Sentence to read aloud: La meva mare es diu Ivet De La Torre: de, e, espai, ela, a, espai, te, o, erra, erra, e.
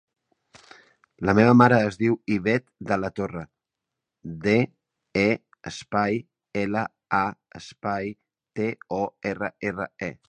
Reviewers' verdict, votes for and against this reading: accepted, 3, 0